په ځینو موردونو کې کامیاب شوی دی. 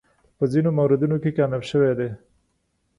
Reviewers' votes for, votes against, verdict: 2, 0, accepted